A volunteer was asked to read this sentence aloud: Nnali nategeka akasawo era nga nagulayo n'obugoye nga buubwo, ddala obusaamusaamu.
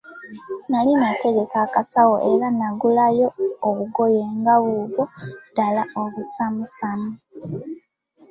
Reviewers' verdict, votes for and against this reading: rejected, 1, 2